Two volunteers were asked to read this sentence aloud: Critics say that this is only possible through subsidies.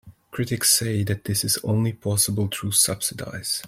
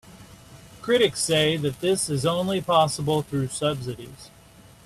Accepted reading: second